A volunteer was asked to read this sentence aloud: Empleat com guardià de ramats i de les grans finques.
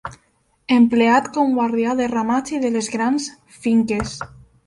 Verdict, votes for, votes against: accepted, 2, 0